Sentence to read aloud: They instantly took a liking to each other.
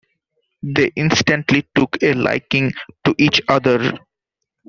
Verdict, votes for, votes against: accepted, 2, 0